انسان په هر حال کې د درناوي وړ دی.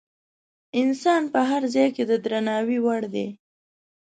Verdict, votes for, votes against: rejected, 1, 2